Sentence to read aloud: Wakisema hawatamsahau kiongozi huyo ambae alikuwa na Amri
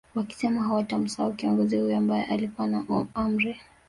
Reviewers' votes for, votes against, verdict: 2, 1, accepted